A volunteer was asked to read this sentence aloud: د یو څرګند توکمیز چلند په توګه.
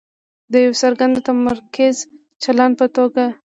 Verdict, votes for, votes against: rejected, 0, 2